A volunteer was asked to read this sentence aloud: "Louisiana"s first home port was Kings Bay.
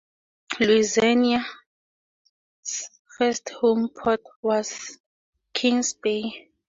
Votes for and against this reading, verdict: 0, 2, rejected